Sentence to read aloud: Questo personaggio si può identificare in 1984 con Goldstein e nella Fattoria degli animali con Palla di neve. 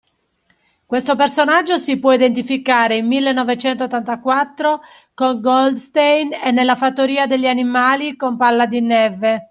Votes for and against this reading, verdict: 0, 2, rejected